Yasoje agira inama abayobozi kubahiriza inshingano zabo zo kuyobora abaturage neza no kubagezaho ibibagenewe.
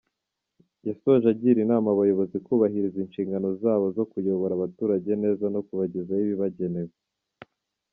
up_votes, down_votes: 0, 2